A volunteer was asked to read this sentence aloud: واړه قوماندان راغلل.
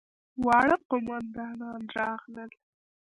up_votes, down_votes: 0, 2